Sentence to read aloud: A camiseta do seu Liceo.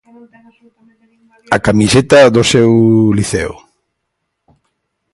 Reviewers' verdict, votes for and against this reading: rejected, 1, 2